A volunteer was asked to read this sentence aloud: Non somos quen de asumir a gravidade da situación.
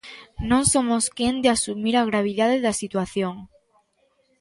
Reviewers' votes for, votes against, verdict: 0, 2, rejected